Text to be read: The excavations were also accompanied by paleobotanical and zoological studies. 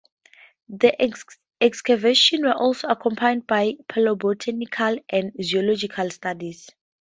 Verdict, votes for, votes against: rejected, 2, 2